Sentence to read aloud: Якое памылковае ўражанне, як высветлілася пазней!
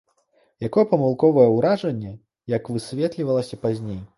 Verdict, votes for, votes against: rejected, 0, 2